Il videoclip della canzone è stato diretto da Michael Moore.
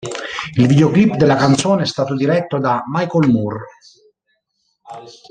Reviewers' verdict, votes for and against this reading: rejected, 1, 2